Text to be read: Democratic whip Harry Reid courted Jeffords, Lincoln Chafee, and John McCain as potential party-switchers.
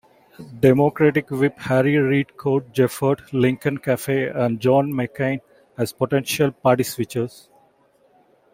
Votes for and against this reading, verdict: 1, 2, rejected